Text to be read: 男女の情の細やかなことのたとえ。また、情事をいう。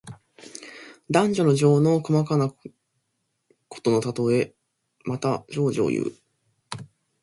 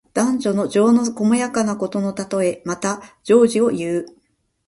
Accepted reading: second